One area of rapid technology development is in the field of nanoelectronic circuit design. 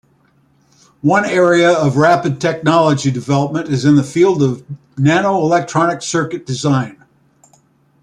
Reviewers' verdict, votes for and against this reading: accepted, 4, 0